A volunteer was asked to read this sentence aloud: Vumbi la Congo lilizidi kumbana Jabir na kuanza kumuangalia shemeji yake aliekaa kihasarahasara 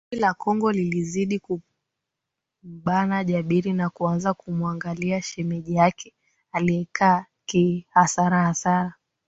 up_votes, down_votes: 8, 1